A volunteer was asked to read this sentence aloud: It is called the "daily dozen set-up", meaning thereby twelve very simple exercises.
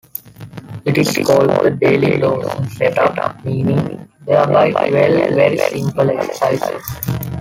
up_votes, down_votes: 0, 2